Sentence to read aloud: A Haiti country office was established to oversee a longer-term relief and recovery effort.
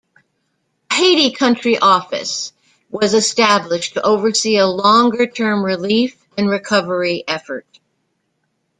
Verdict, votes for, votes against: rejected, 1, 2